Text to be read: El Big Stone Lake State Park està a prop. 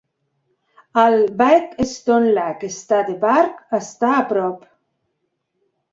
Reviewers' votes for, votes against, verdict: 0, 2, rejected